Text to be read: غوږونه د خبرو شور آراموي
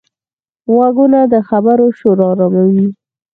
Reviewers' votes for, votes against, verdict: 2, 4, rejected